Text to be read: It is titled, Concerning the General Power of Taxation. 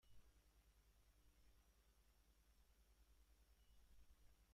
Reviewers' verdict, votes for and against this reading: rejected, 1, 2